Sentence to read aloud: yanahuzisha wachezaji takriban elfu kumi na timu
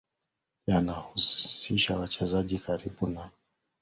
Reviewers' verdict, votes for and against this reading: rejected, 0, 2